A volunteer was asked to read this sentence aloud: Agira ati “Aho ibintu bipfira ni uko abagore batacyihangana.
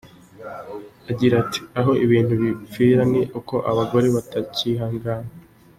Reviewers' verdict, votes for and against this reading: accepted, 2, 0